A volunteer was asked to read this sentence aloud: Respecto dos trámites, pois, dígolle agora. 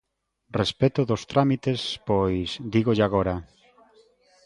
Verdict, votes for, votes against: accepted, 2, 1